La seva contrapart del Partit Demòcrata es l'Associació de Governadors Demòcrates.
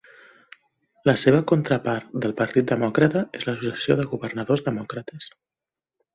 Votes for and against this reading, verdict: 3, 0, accepted